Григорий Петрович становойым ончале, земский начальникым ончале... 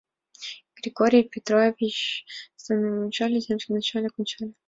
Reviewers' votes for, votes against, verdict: 1, 2, rejected